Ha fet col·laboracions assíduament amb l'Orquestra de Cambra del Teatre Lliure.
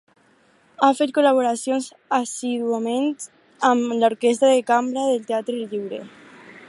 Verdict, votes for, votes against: rejected, 2, 2